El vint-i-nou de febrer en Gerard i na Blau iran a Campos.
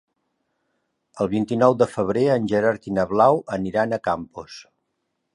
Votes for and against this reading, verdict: 1, 2, rejected